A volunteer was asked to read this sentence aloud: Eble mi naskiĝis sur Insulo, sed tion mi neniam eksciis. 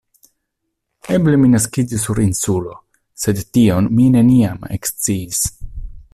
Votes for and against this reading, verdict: 3, 0, accepted